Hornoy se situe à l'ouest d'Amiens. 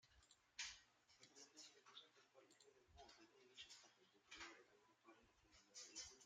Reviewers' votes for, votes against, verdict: 0, 2, rejected